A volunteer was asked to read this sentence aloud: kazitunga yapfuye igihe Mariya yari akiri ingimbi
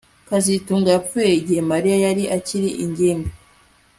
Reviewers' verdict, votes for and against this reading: accepted, 2, 1